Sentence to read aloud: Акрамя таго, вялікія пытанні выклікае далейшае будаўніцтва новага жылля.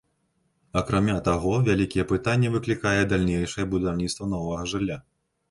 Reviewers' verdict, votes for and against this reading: rejected, 1, 2